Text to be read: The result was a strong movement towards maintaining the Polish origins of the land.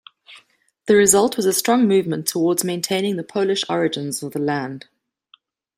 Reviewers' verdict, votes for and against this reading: accepted, 2, 0